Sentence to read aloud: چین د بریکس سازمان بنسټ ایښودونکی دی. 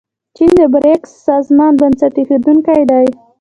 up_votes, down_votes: 2, 1